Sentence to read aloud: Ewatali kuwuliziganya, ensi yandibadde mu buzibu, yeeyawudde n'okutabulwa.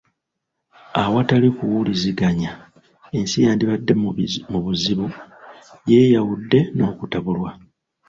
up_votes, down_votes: 1, 2